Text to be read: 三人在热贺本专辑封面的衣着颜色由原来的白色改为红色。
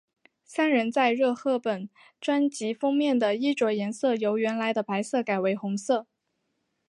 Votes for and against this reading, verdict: 3, 1, accepted